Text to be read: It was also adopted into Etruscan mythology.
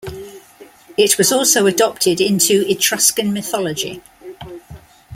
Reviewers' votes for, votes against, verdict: 2, 1, accepted